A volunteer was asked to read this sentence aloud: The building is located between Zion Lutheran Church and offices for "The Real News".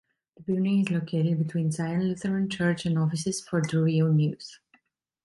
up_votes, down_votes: 0, 2